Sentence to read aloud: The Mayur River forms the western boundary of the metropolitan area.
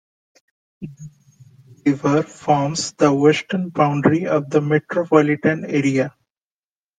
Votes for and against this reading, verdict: 1, 2, rejected